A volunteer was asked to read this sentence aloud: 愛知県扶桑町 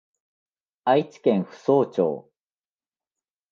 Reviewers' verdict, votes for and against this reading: accepted, 2, 1